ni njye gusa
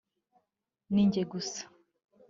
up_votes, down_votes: 2, 0